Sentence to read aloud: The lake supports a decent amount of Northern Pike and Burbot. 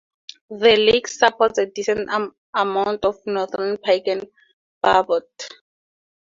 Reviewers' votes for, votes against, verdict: 2, 0, accepted